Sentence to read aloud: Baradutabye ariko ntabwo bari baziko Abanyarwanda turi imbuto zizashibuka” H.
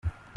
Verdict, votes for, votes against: rejected, 0, 2